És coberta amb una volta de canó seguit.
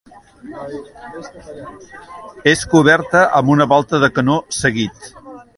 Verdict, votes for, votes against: accepted, 2, 0